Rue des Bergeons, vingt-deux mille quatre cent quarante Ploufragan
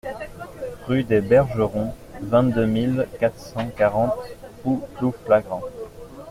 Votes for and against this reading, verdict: 0, 2, rejected